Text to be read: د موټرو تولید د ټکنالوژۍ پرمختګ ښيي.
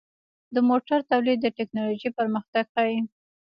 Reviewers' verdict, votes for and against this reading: accepted, 2, 1